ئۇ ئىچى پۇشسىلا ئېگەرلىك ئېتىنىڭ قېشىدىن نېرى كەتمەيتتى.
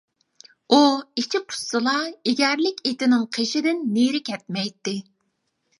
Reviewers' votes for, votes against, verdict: 2, 0, accepted